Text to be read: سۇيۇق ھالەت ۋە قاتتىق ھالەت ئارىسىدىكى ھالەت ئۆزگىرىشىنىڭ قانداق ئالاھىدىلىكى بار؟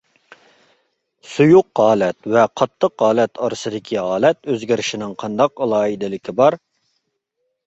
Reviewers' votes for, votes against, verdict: 2, 0, accepted